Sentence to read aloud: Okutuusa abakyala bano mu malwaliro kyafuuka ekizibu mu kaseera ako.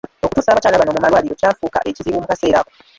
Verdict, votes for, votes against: rejected, 0, 2